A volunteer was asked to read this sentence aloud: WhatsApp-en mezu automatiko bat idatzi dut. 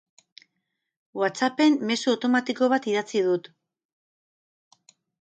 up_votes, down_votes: 10, 0